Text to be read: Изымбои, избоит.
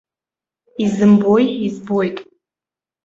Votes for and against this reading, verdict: 1, 2, rejected